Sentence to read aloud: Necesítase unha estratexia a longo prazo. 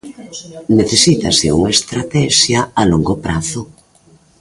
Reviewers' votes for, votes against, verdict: 2, 0, accepted